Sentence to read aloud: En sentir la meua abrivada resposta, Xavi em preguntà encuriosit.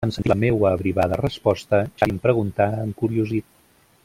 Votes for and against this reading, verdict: 0, 2, rejected